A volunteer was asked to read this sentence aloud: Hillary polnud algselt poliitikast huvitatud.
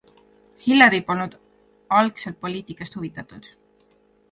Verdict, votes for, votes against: accepted, 3, 1